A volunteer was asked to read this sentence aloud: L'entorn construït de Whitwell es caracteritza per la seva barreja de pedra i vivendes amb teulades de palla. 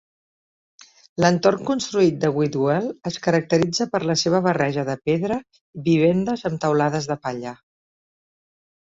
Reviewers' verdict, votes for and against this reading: rejected, 1, 3